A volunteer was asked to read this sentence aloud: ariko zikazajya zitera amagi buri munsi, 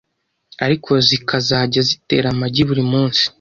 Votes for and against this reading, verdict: 2, 0, accepted